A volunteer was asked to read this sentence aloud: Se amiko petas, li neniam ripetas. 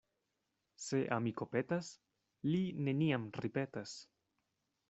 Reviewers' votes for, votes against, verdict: 2, 0, accepted